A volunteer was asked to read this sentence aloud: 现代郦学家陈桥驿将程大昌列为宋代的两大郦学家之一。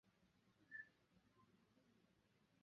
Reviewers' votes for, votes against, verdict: 0, 2, rejected